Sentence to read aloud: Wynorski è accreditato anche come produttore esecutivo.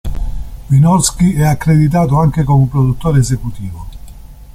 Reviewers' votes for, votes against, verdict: 2, 0, accepted